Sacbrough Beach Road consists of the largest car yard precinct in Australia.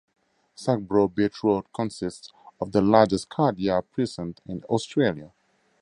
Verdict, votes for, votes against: accepted, 4, 0